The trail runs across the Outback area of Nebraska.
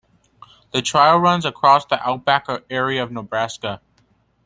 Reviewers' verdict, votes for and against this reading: rejected, 1, 2